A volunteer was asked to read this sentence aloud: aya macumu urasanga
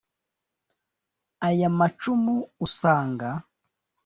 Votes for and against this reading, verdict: 1, 2, rejected